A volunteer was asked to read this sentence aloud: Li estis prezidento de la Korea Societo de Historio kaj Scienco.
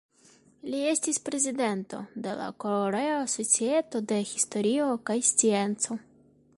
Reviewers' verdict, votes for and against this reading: rejected, 1, 2